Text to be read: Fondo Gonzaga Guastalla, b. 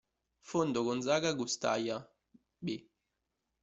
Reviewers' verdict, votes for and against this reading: rejected, 1, 2